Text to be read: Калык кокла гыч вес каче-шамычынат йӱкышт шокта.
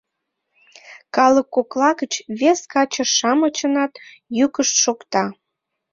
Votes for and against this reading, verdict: 2, 0, accepted